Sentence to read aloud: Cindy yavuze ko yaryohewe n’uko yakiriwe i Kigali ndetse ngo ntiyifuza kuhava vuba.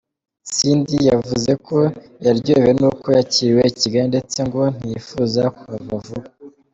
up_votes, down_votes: 2, 0